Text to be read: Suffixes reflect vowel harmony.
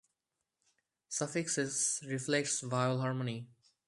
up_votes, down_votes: 0, 2